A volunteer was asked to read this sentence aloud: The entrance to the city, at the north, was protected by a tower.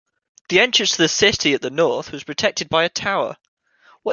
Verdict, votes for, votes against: accepted, 2, 1